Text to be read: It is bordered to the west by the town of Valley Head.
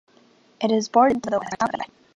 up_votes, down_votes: 0, 3